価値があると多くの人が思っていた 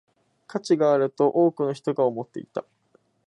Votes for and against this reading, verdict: 2, 0, accepted